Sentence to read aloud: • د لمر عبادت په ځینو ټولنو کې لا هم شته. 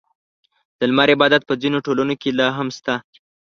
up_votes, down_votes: 2, 0